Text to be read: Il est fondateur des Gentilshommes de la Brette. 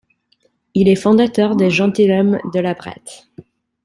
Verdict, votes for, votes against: rejected, 0, 2